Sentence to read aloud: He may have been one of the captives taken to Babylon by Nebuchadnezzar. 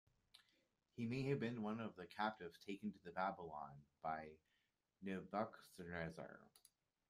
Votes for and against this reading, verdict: 2, 3, rejected